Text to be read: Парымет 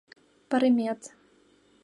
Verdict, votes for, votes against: accepted, 2, 0